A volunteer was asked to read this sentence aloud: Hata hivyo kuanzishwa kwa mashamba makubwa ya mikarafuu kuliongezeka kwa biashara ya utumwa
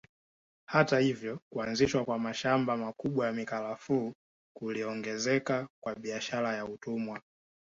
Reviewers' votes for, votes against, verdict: 2, 0, accepted